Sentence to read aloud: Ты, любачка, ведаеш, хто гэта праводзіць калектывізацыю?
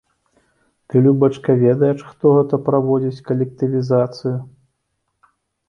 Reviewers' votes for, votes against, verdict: 2, 0, accepted